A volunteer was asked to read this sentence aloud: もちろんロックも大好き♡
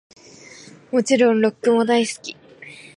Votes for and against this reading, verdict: 4, 0, accepted